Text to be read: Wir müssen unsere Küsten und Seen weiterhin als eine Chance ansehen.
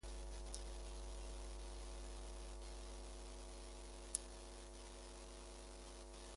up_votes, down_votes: 0, 2